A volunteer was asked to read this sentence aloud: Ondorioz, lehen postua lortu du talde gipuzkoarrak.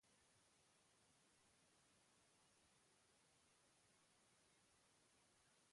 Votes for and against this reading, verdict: 0, 2, rejected